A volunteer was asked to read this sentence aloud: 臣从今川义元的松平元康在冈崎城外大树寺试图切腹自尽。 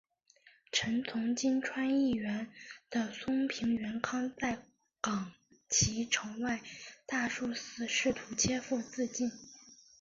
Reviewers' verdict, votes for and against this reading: accepted, 2, 0